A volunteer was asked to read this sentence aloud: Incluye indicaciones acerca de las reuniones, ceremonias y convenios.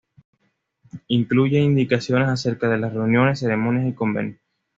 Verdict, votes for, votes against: accepted, 2, 0